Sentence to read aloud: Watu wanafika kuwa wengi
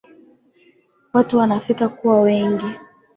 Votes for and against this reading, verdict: 8, 0, accepted